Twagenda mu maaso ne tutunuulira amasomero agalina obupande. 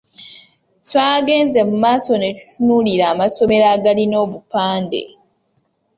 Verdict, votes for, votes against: rejected, 1, 2